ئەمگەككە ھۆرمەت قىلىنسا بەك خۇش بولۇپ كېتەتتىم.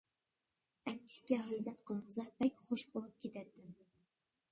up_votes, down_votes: 0, 2